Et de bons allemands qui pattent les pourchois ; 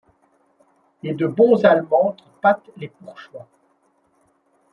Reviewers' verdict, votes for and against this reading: rejected, 1, 2